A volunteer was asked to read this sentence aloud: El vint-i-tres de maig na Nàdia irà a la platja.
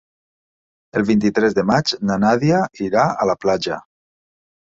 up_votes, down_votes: 3, 0